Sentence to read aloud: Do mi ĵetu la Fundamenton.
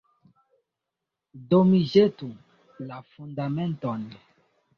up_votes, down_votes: 2, 0